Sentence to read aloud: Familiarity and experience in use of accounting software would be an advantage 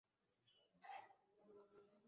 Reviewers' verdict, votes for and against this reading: rejected, 0, 2